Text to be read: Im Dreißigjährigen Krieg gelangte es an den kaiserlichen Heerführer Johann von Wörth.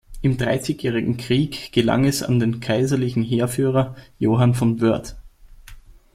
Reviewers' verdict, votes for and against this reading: rejected, 1, 2